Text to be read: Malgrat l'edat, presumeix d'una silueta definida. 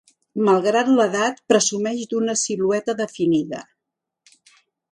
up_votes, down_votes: 3, 0